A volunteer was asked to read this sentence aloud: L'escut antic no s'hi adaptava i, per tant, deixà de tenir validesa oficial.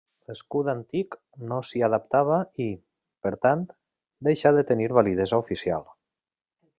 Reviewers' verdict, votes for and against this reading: accepted, 3, 0